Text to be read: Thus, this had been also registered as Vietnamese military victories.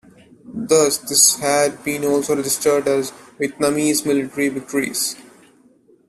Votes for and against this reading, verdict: 1, 2, rejected